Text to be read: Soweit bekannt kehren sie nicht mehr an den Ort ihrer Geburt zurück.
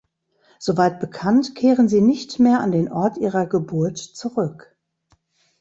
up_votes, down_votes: 2, 0